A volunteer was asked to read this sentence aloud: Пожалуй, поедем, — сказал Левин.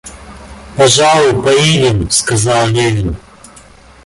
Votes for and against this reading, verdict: 2, 1, accepted